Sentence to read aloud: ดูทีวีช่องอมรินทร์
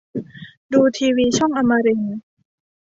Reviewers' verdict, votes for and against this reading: accepted, 2, 0